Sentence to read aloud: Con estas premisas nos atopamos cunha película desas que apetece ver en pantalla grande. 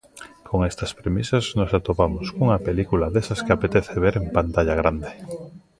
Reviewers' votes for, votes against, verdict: 1, 2, rejected